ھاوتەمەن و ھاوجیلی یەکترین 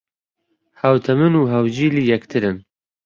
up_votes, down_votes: 2, 1